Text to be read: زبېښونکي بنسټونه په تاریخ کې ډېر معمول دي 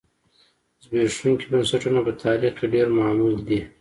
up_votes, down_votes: 1, 2